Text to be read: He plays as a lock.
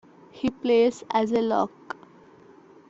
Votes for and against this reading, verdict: 2, 1, accepted